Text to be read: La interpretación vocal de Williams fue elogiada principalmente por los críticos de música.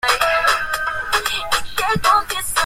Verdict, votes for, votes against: rejected, 0, 2